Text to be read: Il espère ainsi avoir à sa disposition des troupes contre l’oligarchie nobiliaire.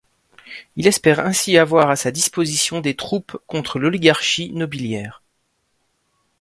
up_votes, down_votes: 2, 0